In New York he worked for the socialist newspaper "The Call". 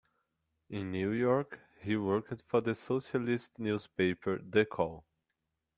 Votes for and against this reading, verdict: 0, 2, rejected